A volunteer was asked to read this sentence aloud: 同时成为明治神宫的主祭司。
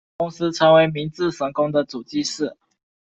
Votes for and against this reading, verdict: 2, 0, accepted